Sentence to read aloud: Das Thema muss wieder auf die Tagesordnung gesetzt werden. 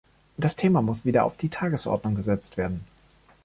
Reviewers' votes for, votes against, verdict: 2, 0, accepted